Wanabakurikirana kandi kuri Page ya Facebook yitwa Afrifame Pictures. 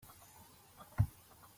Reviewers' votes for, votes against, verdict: 0, 2, rejected